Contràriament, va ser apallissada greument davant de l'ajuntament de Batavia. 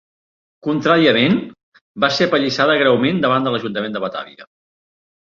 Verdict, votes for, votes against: accepted, 3, 0